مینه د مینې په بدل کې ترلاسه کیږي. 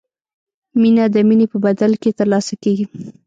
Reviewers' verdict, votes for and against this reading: rejected, 1, 2